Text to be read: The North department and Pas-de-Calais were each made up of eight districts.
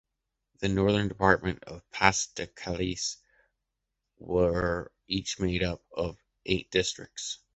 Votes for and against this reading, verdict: 0, 2, rejected